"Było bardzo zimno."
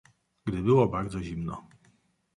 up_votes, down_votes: 0, 2